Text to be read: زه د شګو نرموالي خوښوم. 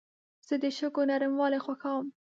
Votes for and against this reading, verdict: 1, 2, rejected